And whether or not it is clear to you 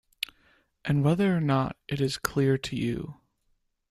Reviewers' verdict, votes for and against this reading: accepted, 2, 0